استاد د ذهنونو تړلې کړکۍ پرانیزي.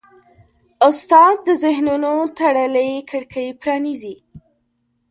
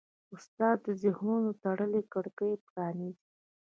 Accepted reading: first